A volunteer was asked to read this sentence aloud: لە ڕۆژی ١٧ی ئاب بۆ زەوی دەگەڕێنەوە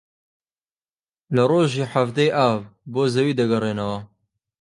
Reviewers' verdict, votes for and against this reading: rejected, 0, 2